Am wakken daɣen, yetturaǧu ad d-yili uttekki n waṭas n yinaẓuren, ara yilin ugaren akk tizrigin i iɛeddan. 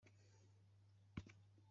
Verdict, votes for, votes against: rejected, 0, 2